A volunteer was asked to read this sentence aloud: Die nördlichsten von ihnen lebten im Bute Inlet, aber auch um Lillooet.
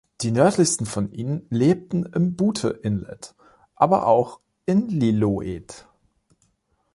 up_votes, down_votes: 0, 2